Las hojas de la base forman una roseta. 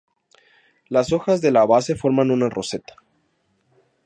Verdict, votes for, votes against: accepted, 2, 0